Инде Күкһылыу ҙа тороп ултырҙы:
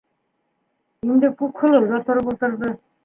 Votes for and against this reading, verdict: 2, 0, accepted